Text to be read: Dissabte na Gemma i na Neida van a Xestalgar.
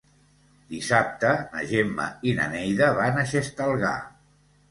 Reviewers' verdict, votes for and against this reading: accepted, 3, 0